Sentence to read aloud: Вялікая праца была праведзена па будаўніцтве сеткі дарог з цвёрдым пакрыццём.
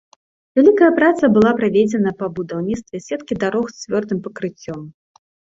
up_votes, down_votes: 2, 0